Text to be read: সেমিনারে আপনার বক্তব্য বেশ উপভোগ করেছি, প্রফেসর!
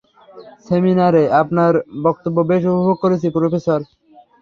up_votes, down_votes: 3, 0